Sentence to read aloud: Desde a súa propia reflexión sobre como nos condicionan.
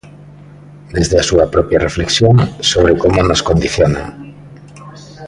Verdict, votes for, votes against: accepted, 2, 0